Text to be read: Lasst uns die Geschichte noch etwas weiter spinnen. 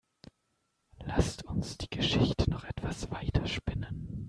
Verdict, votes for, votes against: accepted, 2, 0